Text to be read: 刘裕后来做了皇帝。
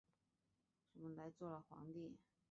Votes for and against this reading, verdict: 1, 2, rejected